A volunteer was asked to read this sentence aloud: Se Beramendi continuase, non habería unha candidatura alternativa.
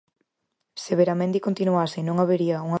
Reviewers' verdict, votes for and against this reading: rejected, 0, 4